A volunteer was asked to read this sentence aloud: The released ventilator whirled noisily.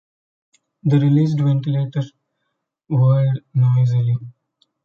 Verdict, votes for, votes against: rejected, 0, 2